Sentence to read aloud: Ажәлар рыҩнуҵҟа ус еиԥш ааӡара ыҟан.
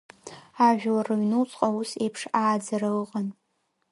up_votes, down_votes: 0, 2